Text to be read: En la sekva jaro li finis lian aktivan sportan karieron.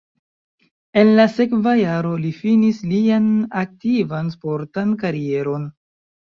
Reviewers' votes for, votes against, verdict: 1, 2, rejected